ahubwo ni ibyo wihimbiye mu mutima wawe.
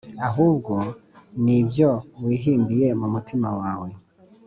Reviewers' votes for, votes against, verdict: 2, 0, accepted